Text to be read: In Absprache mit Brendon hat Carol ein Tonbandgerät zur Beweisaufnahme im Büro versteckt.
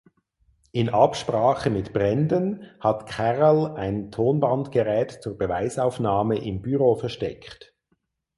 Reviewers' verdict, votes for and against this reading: accepted, 4, 0